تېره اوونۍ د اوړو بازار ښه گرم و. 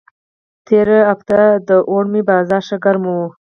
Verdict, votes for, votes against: rejected, 2, 4